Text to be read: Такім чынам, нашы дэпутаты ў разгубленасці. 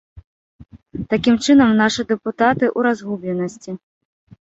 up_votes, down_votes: 3, 0